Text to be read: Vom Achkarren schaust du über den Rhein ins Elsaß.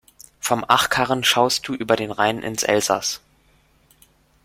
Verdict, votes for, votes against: rejected, 1, 2